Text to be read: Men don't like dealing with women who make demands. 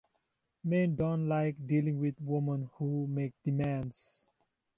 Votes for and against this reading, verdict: 1, 2, rejected